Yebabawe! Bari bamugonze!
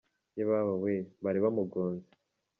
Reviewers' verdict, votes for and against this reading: accepted, 2, 1